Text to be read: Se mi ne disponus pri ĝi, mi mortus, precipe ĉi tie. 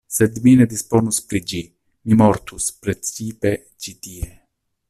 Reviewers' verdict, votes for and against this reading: rejected, 0, 2